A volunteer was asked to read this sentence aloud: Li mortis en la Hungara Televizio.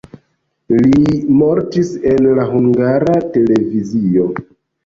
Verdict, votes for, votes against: accepted, 2, 1